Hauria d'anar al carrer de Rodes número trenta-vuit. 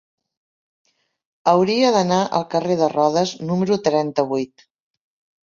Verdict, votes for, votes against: accepted, 3, 0